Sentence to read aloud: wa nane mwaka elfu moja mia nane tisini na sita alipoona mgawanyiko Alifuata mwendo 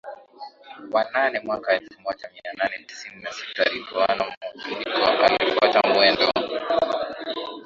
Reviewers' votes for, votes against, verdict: 4, 1, accepted